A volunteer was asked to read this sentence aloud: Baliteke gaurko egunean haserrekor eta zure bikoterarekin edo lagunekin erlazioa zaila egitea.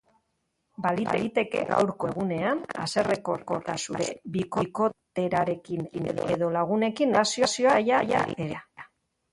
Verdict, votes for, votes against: rejected, 0, 2